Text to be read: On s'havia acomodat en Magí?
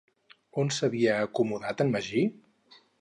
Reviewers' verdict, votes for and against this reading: accepted, 4, 0